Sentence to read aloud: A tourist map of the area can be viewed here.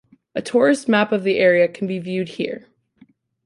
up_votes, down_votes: 2, 0